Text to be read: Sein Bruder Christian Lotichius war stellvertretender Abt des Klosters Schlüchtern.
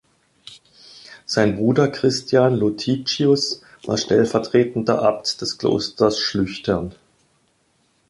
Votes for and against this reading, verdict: 2, 1, accepted